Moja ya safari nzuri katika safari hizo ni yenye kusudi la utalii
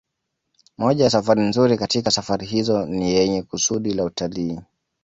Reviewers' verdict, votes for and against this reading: accepted, 2, 0